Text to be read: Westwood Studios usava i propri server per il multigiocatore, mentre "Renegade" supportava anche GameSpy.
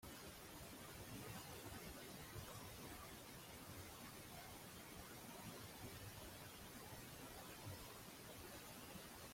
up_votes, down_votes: 1, 2